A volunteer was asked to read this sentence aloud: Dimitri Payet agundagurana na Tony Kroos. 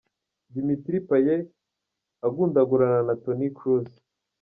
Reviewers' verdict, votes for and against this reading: accepted, 2, 0